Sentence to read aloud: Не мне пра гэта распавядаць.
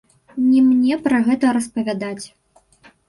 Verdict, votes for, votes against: rejected, 1, 2